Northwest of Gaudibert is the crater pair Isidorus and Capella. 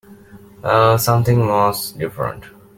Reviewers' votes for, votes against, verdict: 1, 2, rejected